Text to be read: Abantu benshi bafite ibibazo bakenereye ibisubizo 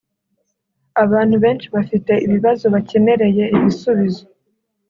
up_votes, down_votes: 2, 0